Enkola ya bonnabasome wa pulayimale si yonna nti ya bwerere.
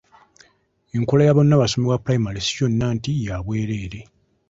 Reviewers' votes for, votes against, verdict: 2, 0, accepted